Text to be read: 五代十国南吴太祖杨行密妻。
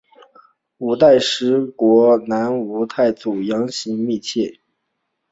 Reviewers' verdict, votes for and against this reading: accepted, 2, 0